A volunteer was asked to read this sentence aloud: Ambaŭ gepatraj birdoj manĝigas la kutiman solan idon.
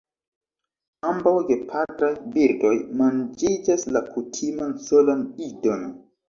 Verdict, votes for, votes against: rejected, 1, 2